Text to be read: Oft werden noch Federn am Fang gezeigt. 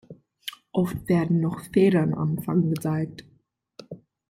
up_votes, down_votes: 2, 0